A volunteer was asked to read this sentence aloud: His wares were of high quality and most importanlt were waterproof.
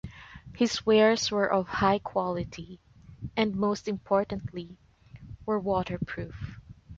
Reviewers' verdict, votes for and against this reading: rejected, 1, 2